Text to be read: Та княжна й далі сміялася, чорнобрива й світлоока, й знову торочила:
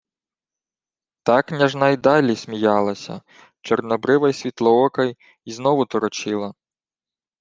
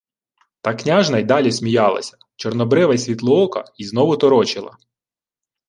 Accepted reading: second